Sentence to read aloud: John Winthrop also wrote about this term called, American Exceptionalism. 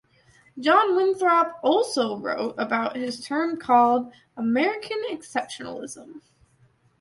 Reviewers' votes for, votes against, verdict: 2, 1, accepted